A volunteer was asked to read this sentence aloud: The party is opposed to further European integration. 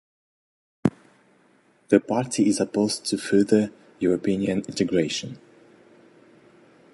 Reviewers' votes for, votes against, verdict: 2, 0, accepted